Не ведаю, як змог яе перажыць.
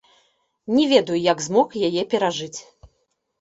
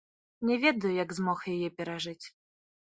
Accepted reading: first